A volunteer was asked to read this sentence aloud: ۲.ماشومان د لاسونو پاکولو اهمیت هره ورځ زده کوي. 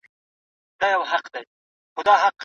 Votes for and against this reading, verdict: 0, 2, rejected